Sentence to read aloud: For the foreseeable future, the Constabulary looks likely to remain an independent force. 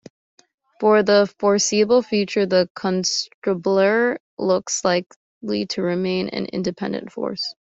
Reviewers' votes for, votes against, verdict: 0, 3, rejected